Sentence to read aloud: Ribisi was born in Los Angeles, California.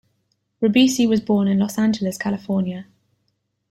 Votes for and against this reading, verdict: 2, 0, accepted